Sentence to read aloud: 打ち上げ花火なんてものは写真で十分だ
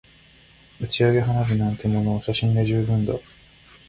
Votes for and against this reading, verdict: 2, 0, accepted